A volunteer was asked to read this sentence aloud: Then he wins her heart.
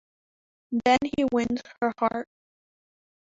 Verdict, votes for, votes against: rejected, 1, 2